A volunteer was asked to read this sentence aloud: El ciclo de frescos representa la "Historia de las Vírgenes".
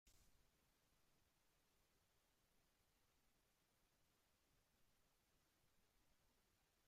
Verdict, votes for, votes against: rejected, 0, 2